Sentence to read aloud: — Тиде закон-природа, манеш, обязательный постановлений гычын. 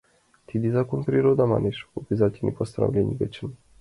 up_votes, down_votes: 2, 0